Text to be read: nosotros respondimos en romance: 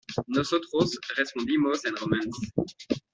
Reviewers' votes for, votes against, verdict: 0, 2, rejected